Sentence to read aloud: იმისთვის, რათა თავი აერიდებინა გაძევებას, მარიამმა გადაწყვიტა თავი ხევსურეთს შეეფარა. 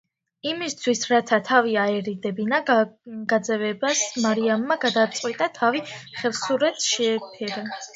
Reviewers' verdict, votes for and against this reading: rejected, 1, 2